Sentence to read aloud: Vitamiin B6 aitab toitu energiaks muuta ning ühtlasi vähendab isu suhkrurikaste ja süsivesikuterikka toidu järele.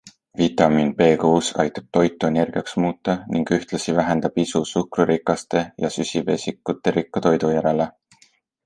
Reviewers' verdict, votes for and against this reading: rejected, 0, 2